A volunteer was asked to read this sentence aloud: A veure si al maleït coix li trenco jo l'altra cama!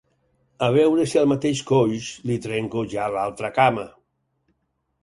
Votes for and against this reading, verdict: 0, 4, rejected